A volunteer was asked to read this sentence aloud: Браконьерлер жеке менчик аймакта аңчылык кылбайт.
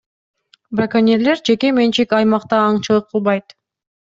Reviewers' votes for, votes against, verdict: 2, 0, accepted